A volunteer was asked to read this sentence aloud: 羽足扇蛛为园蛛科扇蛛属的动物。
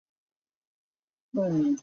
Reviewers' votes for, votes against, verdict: 0, 2, rejected